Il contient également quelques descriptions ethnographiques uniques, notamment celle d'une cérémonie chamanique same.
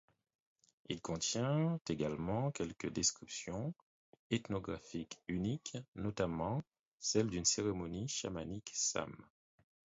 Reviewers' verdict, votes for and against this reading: rejected, 2, 4